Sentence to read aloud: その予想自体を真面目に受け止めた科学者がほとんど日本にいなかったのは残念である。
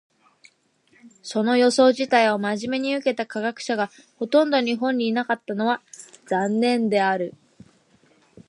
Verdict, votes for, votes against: rejected, 0, 2